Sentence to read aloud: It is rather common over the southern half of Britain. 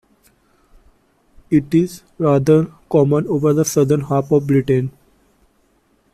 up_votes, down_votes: 2, 0